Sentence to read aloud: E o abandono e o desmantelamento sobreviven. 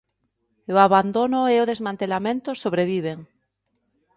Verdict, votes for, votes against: accepted, 3, 0